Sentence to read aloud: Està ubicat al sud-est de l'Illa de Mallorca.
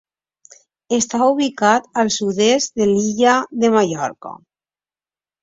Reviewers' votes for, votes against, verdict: 3, 0, accepted